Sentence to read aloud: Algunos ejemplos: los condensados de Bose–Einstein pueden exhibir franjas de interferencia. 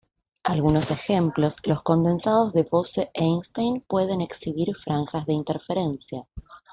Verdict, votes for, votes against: accepted, 2, 0